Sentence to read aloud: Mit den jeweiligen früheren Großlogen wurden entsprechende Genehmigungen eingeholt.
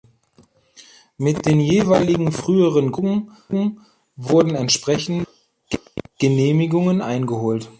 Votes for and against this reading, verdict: 0, 2, rejected